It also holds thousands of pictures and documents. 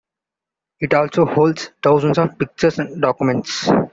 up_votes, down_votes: 2, 1